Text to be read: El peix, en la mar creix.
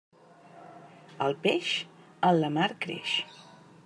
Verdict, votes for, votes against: accepted, 2, 0